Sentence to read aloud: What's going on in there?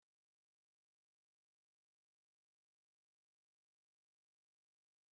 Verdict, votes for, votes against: rejected, 0, 2